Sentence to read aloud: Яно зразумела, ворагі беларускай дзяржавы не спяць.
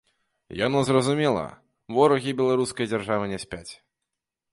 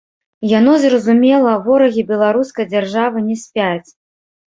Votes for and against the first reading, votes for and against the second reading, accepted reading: 2, 0, 1, 2, first